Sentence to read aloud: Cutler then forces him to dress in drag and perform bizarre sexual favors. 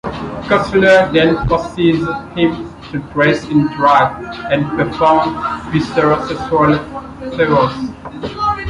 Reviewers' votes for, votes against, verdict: 2, 3, rejected